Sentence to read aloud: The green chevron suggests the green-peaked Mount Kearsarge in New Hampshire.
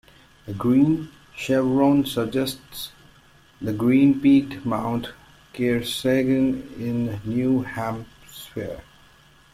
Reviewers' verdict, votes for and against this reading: rejected, 0, 2